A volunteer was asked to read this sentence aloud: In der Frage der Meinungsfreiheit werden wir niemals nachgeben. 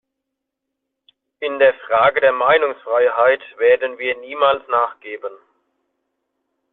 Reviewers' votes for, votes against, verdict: 2, 0, accepted